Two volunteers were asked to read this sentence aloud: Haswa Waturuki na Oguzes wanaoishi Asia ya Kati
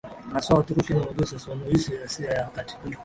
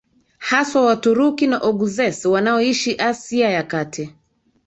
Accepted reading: second